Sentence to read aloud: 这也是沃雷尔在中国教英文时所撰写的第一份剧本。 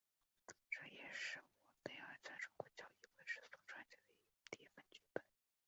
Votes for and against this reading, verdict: 2, 1, accepted